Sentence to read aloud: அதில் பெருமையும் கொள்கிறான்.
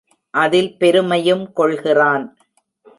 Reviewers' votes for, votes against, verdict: 2, 0, accepted